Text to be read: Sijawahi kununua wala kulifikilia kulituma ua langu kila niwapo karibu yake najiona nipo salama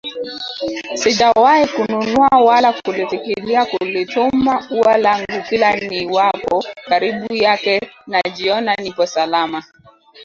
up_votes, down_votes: 0, 2